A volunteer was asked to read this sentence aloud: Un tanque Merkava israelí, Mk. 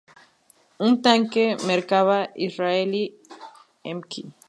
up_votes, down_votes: 2, 0